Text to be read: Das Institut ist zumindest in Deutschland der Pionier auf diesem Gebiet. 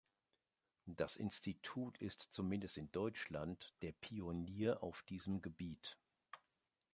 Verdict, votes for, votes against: accepted, 2, 0